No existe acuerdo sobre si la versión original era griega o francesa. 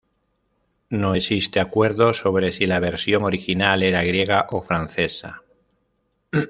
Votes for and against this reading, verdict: 2, 0, accepted